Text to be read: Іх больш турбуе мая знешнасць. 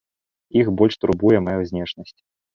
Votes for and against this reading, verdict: 2, 0, accepted